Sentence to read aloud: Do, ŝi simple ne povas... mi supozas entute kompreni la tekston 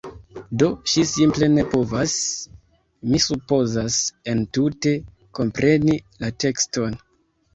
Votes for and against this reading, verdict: 1, 2, rejected